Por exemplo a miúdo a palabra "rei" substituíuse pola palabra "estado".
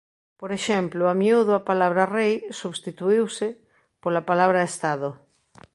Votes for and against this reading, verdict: 2, 0, accepted